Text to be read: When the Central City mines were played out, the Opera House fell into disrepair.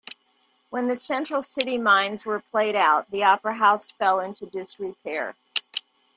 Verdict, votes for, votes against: accepted, 2, 0